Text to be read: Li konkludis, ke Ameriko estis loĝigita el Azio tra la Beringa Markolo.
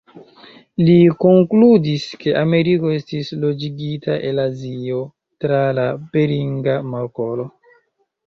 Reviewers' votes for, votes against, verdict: 0, 2, rejected